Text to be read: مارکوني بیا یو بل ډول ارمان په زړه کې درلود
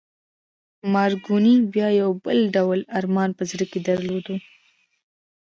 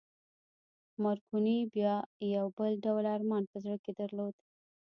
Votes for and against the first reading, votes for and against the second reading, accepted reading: 2, 1, 0, 2, first